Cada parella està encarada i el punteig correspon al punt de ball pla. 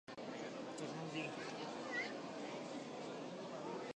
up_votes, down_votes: 0, 2